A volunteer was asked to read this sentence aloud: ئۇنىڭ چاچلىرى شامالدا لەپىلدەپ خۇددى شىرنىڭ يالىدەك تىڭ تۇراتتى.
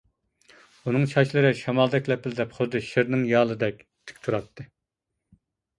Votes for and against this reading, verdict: 0, 2, rejected